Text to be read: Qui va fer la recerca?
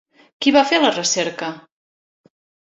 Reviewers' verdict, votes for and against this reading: accepted, 3, 0